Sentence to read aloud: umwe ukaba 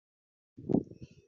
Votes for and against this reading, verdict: 0, 2, rejected